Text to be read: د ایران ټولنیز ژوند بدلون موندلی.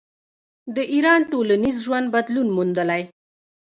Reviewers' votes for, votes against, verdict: 0, 2, rejected